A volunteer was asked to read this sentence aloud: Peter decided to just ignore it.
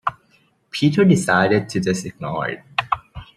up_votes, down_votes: 2, 0